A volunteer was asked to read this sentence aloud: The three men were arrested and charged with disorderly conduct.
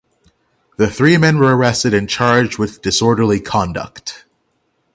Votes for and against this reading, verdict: 9, 0, accepted